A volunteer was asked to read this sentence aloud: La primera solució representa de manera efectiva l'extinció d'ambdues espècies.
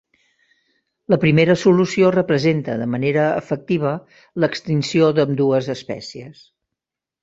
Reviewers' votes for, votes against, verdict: 5, 0, accepted